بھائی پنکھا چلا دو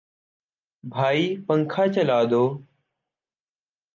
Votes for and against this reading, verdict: 2, 0, accepted